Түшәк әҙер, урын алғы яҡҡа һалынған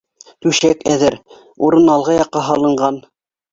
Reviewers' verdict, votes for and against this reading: accepted, 2, 0